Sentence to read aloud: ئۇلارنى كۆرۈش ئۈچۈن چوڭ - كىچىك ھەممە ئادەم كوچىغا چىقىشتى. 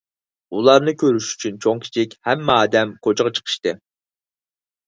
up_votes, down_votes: 4, 0